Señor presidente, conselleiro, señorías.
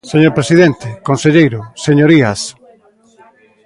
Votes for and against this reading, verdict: 0, 2, rejected